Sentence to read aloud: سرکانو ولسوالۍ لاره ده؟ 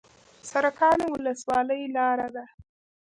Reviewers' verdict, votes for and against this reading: rejected, 0, 2